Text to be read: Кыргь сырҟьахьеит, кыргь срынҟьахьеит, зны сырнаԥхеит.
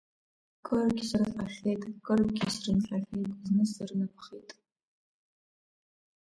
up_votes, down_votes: 1, 2